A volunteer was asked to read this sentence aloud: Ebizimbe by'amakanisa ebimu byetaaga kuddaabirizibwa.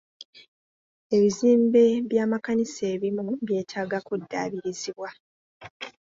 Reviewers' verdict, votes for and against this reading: accepted, 2, 0